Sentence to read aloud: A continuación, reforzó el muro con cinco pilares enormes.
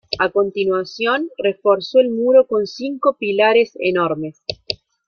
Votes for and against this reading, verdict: 2, 0, accepted